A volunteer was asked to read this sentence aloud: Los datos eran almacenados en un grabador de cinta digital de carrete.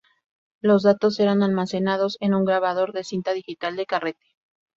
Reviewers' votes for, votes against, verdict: 2, 0, accepted